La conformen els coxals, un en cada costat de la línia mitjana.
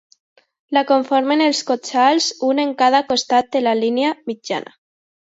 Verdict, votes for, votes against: accepted, 2, 1